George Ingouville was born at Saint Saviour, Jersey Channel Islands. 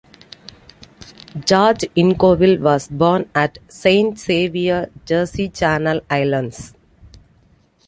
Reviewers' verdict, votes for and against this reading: accepted, 2, 0